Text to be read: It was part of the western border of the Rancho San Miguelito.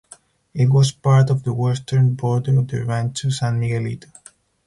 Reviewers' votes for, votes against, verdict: 2, 2, rejected